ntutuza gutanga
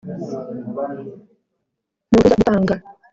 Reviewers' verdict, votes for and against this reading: rejected, 1, 2